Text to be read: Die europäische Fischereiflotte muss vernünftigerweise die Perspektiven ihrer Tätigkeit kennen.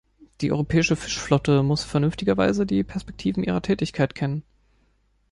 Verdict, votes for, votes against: rejected, 0, 2